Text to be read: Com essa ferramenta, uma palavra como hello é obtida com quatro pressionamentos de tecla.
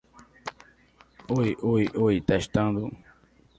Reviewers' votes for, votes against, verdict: 0, 2, rejected